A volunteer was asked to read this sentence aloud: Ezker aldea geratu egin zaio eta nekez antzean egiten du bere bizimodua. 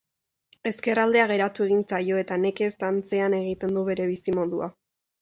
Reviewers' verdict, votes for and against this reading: accepted, 2, 0